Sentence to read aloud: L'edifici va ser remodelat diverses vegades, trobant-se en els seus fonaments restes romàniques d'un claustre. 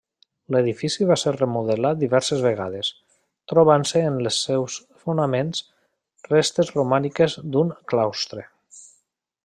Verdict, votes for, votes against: rejected, 1, 2